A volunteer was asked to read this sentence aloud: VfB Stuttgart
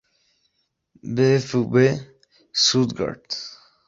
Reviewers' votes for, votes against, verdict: 2, 0, accepted